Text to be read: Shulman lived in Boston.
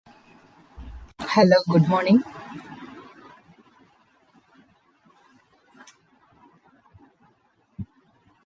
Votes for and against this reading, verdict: 0, 2, rejected